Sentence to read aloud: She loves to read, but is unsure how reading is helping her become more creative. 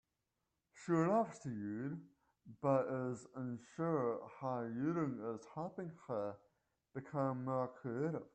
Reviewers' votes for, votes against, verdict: 1, 2, rejected